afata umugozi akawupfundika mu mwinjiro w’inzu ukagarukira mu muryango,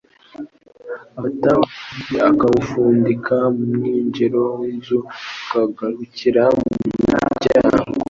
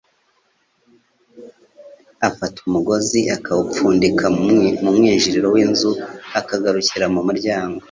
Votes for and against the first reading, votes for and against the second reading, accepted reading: 2, 0, 1, 3, first